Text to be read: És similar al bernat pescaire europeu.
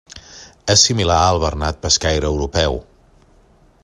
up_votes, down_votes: 3, 1